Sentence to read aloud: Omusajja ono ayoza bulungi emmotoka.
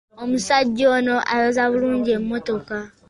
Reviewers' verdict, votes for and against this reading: accepted, 2, 0